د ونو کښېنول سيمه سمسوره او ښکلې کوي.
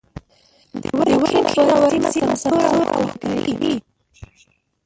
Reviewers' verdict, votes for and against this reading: rejected, 1, 2